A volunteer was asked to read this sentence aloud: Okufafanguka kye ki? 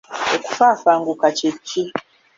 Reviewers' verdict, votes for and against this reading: accepted, 3, 0